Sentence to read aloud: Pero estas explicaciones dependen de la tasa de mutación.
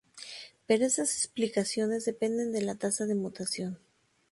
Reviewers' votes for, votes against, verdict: 0, 2, rejected